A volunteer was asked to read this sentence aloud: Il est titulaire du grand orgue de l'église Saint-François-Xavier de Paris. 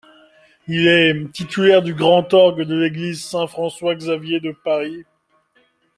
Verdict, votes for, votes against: accepted, 2, 1